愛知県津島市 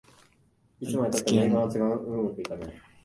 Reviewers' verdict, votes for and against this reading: rejected, 0, 2